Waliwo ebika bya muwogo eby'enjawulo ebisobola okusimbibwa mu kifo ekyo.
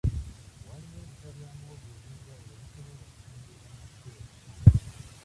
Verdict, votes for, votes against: rejected, 0, 2